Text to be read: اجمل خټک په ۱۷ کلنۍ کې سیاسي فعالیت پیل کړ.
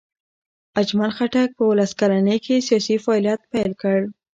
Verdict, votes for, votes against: rejected, 0, 2